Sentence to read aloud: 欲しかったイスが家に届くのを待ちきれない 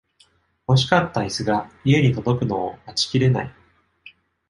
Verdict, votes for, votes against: accepted, 2, 0